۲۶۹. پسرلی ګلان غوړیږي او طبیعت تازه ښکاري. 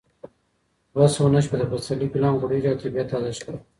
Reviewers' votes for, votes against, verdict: 0, 2, rejected